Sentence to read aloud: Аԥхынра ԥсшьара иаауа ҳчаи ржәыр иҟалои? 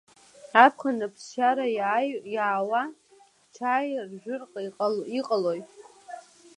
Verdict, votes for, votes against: rejected, 1, 2